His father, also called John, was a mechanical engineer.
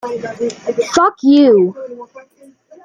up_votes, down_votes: 0, 2